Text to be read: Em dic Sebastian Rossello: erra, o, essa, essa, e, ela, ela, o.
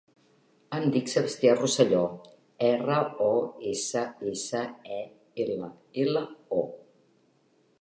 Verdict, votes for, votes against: accepted, 3, 1